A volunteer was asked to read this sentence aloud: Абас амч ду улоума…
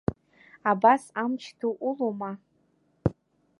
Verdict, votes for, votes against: accepted, 2, 0